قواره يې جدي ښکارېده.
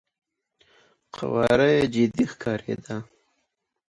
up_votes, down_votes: 2, 1